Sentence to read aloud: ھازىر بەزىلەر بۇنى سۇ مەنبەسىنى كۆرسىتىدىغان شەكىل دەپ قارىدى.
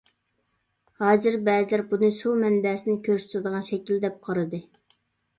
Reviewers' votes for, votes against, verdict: 2, 0, accepted